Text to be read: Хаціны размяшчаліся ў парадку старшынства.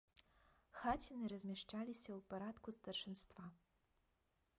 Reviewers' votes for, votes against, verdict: 1, 2, rejected